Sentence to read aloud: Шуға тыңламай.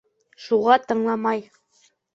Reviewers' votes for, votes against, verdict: 2, 0, accepted